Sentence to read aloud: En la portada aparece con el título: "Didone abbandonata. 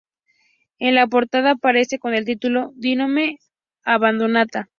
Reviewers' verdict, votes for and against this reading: accepted, 2, 0